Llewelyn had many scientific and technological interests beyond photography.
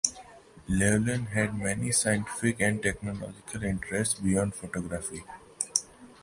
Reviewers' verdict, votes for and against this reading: rejected, 1, 2